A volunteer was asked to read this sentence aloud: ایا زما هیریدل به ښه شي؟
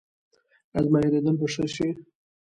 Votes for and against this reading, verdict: 1, 2, rejected